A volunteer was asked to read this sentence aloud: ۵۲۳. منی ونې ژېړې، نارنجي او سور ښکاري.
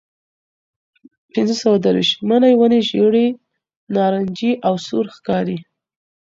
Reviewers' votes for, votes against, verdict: 0, 2, rejected